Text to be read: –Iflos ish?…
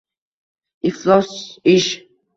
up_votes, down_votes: 2, 1